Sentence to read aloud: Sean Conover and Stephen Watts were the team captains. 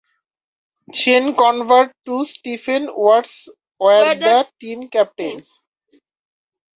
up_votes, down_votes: 2, 0